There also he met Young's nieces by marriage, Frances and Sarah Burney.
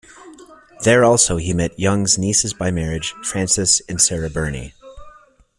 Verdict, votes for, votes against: accepted, 2, 0